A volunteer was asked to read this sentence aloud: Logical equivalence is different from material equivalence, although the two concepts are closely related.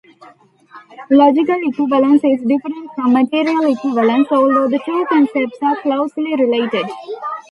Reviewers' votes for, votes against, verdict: 1, 2, rejected